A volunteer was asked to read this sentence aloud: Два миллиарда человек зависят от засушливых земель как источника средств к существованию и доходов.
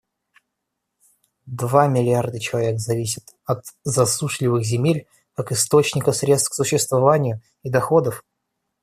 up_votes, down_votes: 0, 2